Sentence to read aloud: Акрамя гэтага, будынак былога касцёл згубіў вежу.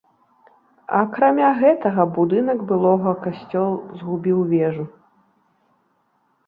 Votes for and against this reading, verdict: 3, 0, accepted